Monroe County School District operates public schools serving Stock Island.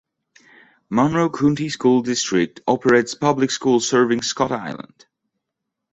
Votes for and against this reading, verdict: 1, 2, rejected